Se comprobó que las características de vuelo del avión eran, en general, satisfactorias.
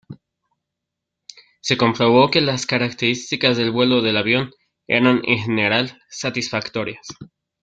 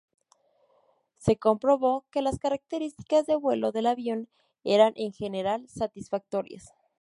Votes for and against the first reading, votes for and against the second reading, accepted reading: 1, 2, 2, 0, second